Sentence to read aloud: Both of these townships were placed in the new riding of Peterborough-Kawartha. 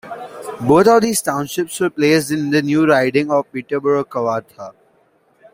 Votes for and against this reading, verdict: 1, 2, rejected